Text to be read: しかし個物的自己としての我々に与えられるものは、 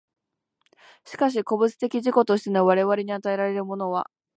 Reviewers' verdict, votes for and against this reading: accepted, 3, 0